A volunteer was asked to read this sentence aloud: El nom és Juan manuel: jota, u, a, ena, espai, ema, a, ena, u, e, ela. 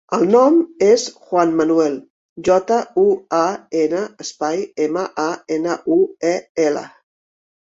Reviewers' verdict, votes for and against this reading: accepted, 2, 0